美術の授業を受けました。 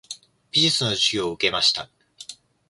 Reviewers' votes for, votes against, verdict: 0, 2, rejected